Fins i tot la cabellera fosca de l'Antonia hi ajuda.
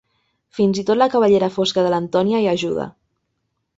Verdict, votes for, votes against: accepted, 3, 0